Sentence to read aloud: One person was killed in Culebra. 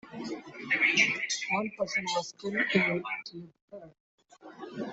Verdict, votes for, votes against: rejected, 0, 2